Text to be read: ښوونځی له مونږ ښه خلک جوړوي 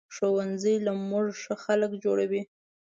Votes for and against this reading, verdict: 2, 0, accepted